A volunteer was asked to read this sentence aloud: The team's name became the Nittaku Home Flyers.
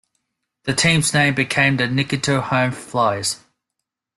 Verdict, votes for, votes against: rejected, 1, 2